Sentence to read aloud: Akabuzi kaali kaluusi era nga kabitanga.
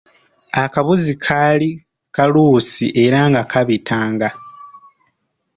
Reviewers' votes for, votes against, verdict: 2, 0, accepted